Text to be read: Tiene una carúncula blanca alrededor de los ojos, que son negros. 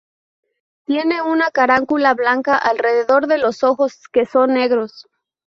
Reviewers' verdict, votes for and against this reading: accepted, 2, 0